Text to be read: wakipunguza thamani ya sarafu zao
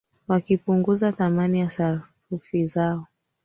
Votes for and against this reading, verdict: 1, 3, rejected